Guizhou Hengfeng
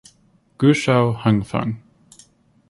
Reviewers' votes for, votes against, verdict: 4, 0, accepted